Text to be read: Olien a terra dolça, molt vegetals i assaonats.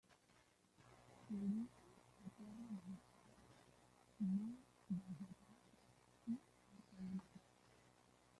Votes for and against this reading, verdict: 0, 2, rejected